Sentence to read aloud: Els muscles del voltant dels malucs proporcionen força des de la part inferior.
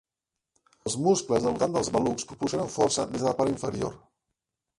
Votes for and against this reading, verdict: 0, 2, rejected